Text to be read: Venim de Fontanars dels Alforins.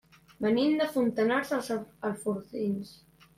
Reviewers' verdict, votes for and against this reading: rejected, 0, 2